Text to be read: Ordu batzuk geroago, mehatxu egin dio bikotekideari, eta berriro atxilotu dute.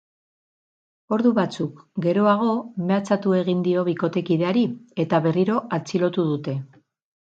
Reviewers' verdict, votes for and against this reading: rejected, 0, 4